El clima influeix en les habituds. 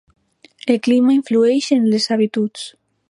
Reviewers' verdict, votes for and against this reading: accepted, 3, 0